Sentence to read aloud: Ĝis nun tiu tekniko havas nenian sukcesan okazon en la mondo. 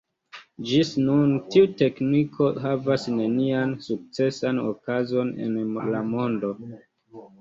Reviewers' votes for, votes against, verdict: 1, 2, rejected